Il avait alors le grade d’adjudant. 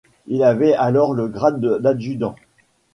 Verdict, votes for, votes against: rejected, 0, 2